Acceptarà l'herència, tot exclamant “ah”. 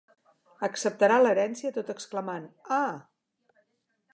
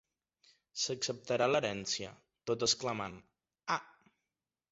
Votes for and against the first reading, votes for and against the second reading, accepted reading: 2, 0, 1, 2, first